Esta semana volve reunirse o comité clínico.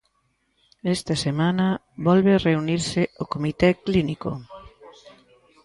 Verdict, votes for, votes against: rejected, 0, 2